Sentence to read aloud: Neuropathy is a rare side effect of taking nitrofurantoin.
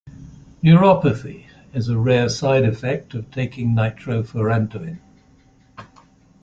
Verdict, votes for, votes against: accepted, 2, 0